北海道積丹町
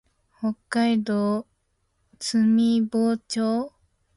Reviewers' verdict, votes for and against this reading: rejected, 3, 4